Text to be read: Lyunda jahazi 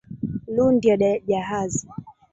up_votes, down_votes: 1, 2